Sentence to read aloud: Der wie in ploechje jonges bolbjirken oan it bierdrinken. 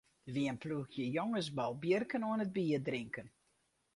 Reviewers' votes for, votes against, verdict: 2, 0, accepted